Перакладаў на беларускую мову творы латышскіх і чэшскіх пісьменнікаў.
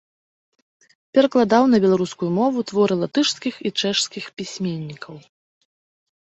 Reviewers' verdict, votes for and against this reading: accepted, 2, 0